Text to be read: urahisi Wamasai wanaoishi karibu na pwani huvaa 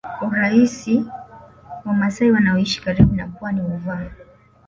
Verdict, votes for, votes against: accepted, 3, 2